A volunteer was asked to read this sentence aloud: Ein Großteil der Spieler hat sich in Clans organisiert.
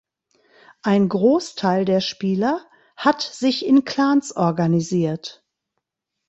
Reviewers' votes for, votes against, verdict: 2, 0, accepted